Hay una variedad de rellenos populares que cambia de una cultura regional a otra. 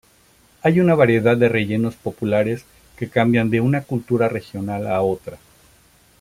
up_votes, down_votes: 0, 2